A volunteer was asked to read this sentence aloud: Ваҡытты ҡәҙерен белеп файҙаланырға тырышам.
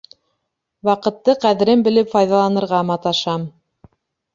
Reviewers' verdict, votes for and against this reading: rejected, 0, 2